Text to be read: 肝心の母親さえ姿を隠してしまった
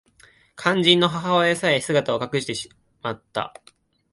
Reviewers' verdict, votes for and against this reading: rejected, 1, 2